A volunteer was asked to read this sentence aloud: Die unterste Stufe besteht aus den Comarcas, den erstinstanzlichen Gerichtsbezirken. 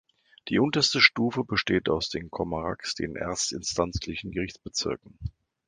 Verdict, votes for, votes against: rejected, 1, 2